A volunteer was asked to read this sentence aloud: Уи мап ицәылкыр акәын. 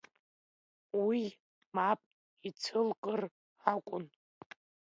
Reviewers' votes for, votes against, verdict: 2, 1, accepted